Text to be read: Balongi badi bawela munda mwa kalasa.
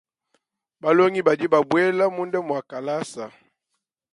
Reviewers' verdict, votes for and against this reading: rejected, 0, 2